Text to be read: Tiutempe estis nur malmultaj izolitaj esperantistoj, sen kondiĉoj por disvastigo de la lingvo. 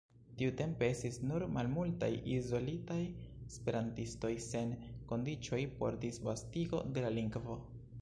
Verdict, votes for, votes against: accepted, 2, 0